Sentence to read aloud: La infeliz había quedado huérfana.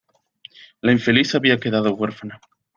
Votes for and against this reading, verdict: 2, 0, accepted